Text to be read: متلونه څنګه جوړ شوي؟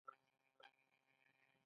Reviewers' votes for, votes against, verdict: 2, 0, accepted